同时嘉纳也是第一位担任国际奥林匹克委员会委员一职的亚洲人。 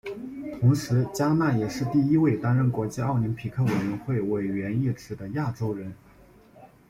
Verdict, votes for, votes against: accepted, 2, 0